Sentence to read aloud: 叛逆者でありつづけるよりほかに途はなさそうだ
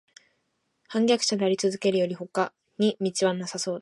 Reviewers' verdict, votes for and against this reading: rejected, 1, 2